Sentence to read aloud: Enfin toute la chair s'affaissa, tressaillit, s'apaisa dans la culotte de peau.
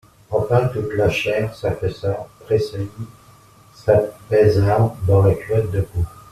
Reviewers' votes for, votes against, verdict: 2, 0, accepted